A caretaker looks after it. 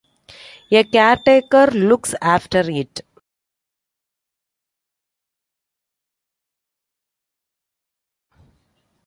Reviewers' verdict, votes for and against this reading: rejected, 1, 2